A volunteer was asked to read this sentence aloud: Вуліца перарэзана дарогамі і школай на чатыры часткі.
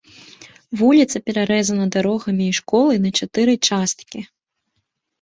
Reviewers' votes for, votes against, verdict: 2, 0, accepted